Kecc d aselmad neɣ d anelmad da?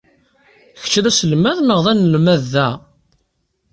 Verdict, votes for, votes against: accepted, 2, 1